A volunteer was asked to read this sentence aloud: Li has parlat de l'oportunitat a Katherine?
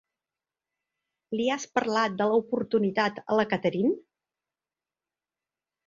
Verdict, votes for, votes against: rejected, 0, 3